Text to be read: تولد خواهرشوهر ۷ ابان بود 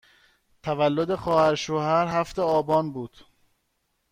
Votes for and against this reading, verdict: 0, 2, rejected